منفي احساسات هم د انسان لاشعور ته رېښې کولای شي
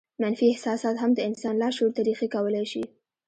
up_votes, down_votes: 1, 2